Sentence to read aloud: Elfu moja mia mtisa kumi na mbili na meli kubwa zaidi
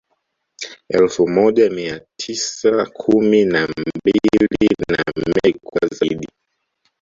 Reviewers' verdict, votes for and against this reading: rejected, 0, 4